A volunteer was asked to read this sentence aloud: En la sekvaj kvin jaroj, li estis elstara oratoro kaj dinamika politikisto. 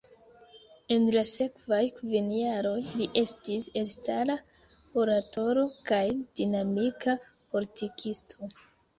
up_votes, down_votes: 2, 1